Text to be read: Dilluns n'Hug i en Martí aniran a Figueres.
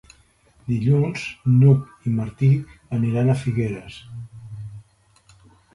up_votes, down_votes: 1, 2